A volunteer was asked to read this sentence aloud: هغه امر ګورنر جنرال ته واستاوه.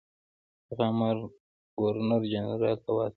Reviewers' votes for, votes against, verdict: 1, 2, rejected